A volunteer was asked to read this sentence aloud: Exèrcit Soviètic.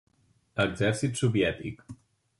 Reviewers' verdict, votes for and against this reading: accepted, 3, 0